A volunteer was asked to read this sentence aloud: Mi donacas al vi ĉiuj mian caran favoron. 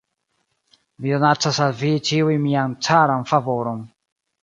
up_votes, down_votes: 0, 2